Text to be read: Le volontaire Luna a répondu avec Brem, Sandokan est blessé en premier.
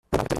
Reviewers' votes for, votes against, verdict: 0, 2, rejected